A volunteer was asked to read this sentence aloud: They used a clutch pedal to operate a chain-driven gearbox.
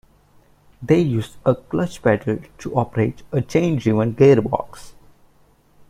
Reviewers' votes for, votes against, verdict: 2, 0, accepted